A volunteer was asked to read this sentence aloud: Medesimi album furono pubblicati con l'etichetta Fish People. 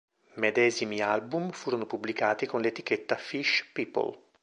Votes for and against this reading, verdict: 2, 0, accepted